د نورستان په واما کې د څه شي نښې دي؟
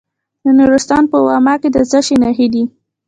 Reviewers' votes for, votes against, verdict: 1, 2, rejected